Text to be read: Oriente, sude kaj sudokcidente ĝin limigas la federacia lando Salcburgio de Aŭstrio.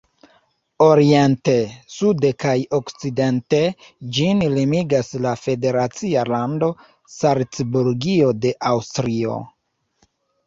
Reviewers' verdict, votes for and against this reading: rejected, 0, 2